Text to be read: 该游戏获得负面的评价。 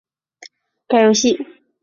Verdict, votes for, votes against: rejected, 1, 5